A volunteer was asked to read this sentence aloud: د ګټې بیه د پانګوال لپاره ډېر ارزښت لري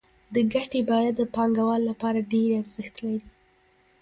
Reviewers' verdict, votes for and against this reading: rejected, 0, 2